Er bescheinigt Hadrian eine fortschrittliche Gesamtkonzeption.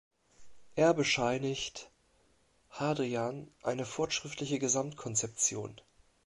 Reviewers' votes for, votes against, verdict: 1, 2, rejected